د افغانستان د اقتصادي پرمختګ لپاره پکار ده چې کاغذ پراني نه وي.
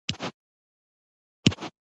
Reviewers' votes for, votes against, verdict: 1, 2, rejected